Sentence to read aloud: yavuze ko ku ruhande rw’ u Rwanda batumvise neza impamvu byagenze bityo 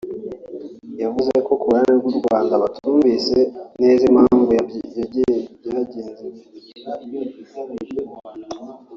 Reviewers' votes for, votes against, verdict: 1, 2, rejected